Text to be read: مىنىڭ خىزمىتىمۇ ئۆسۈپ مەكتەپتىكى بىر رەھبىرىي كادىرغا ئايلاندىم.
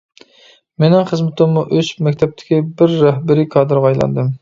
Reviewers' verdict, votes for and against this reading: rejected, 1, 2